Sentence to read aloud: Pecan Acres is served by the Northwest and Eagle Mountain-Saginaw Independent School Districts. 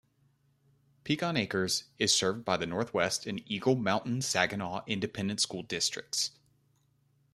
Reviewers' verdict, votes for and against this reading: accepted, 2, 0